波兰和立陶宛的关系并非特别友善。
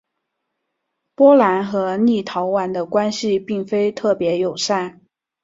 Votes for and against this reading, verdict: 2, 0, accepted